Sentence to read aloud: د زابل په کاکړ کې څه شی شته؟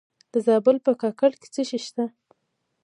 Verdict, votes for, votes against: accepted, 2, 1